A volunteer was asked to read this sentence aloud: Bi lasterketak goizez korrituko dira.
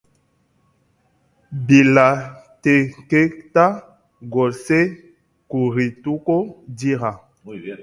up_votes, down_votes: 0, 2